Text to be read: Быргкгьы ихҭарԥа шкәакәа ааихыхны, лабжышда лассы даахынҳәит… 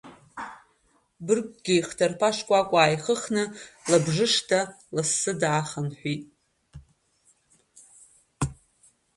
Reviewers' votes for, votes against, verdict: 1, 2, rejected